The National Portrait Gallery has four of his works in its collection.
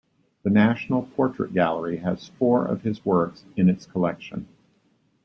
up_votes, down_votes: 2, 0